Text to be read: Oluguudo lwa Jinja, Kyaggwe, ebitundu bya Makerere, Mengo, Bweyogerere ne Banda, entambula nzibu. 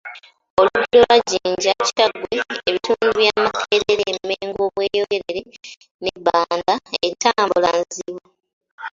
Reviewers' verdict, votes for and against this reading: rejected, 0, 2